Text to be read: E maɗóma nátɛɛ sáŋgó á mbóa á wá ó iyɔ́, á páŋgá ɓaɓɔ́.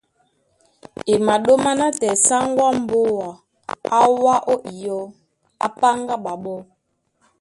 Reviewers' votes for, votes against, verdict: 1, 3, rejected